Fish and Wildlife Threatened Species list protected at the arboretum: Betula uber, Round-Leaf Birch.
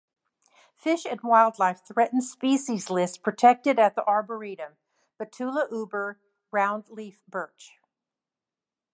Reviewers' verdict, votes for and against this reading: accepted, 2, 0